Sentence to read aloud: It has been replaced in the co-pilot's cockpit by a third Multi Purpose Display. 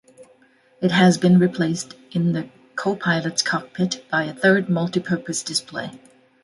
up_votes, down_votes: 2, 0